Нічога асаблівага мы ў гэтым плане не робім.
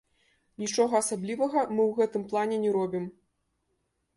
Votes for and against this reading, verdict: 2, 1, accepted